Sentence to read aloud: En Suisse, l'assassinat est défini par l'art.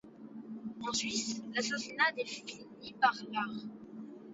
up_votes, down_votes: 0, 2